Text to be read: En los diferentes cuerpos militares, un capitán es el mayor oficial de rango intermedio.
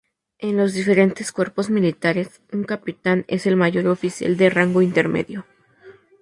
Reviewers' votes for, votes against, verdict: 2, 0, accepted